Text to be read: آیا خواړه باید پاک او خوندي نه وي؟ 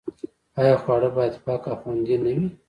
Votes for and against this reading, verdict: 0, 2, rejected